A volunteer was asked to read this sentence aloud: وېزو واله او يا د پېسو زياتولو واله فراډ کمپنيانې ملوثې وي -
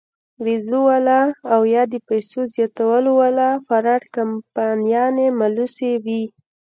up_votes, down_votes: 2, 0